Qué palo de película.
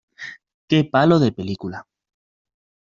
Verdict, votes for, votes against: accepted, 2, 0